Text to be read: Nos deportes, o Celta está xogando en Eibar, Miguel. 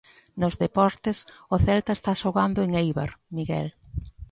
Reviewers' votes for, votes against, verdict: 2, 0, accepted